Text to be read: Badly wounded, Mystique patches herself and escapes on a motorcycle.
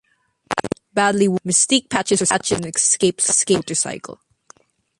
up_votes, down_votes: 0, 2